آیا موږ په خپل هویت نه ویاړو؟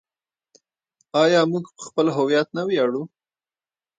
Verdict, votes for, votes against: rejected, 0, 2